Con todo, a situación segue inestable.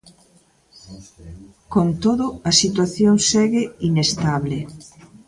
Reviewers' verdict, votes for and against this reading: rejected, 1, 2